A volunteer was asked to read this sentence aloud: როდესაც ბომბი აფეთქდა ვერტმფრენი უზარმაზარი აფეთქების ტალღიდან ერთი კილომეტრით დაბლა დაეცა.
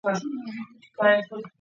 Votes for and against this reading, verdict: 0, 3, rejected